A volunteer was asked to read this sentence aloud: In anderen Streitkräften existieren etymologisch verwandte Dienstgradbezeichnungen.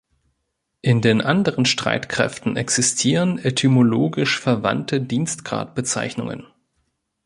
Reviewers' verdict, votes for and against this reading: rejected, 1, 3